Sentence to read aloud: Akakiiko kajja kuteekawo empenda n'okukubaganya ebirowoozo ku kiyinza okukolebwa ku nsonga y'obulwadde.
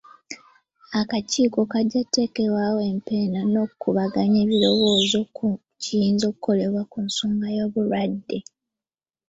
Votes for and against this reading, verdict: 1, 2, rejected